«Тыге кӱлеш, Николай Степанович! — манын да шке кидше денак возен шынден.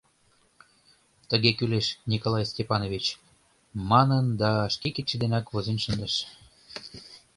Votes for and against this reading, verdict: 0, 2, rejected